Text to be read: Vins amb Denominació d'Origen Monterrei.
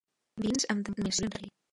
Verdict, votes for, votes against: rejected, 0, 2